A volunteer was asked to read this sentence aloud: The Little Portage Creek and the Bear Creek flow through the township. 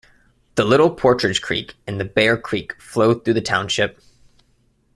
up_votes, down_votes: 0, 2